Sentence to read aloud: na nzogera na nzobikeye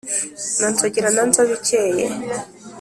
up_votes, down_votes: 2, 0